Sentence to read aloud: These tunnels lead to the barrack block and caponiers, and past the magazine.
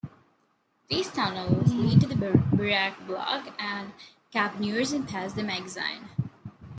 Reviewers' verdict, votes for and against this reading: rejected, 0, 2